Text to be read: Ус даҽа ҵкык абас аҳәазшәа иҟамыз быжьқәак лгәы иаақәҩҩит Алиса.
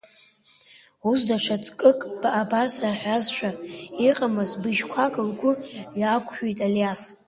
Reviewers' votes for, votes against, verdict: 1, 2, rejected